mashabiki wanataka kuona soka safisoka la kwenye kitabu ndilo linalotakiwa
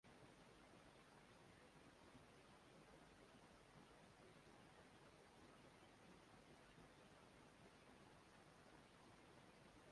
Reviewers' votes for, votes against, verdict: 1, 2, rejected